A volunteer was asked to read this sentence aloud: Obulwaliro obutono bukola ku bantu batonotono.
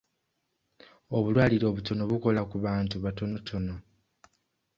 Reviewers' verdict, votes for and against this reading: accepted, 2, 0